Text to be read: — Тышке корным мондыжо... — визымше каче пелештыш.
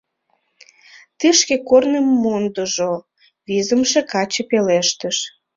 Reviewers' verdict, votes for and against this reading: rejected, 1, 2